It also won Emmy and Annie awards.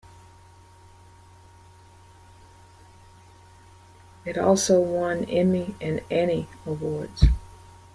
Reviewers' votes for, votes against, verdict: 2, 1, accepted